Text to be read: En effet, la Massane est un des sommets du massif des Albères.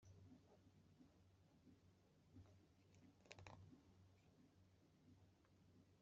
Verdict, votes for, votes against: rejected, 0, 2